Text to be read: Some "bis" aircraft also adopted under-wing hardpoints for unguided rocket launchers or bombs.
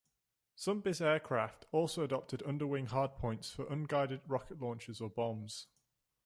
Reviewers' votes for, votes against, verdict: 2, 0, accepted